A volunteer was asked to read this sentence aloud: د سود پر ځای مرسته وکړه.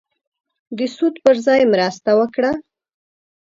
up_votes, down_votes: 5, 0